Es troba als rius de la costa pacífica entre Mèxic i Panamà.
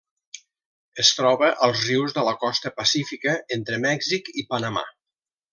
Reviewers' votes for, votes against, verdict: 3, 0, accepted